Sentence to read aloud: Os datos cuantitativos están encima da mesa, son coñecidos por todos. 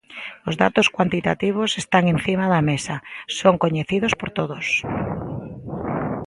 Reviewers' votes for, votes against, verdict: 3, 0, accepted